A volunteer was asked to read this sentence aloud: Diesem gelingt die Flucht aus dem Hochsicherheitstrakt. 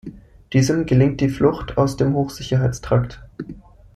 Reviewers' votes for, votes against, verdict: 2, 0, accepted